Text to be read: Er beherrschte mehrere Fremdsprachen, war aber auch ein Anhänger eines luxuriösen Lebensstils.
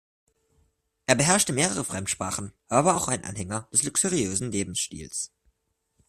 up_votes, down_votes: 1, 2